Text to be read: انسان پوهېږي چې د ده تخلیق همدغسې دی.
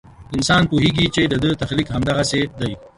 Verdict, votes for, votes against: accepted, 2, 0